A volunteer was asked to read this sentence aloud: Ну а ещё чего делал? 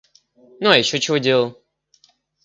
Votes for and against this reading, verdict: 2, 0, accepted